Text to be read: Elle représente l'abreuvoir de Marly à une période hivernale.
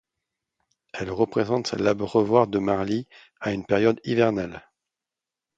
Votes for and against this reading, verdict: 2, 0, accepted